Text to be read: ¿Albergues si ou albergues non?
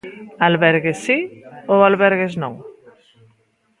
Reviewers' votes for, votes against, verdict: 2, 0, accepted